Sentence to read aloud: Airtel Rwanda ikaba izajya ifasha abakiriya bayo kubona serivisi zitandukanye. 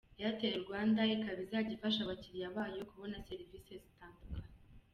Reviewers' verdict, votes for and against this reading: accepted, 2, 0